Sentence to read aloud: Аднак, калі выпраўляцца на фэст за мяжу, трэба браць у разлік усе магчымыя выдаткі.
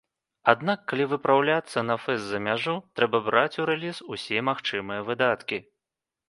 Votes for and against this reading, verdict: 1, 2, rejected